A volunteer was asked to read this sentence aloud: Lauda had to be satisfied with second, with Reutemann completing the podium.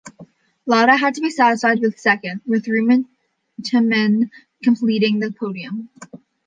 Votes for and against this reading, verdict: 0, 2, rejected